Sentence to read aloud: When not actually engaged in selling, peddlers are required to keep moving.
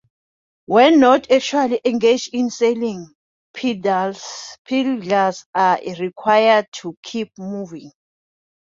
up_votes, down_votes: 0, 2